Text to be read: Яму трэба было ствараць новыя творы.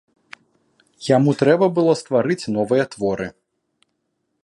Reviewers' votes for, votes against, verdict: 0, 2, rejected